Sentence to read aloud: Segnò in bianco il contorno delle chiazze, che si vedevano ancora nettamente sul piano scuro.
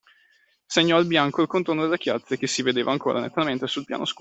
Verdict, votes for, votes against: rejected, 0, 2